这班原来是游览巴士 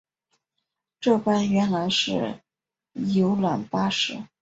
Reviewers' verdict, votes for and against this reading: accepted, 2, 0